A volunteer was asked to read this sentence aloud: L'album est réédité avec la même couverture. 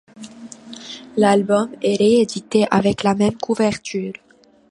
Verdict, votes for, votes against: accepted, 2, 0